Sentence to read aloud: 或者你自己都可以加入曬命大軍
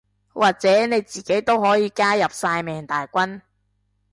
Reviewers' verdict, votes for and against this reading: accepted, 2, 0